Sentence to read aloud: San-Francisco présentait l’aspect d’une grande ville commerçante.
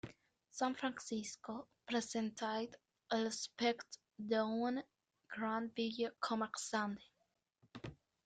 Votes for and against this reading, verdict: 1, 2, rejected